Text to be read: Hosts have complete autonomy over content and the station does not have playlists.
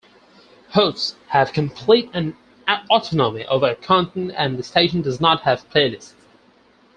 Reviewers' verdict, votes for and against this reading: rejected, 0, 4